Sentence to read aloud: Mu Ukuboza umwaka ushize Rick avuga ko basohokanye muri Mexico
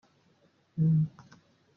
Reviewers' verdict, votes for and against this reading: rejected, 0, 2